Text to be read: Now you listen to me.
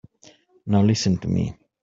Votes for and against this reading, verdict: 1, 3, rejected